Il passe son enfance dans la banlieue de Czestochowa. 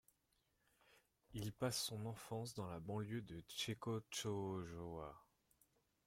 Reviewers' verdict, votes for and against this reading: rejected, 1, 2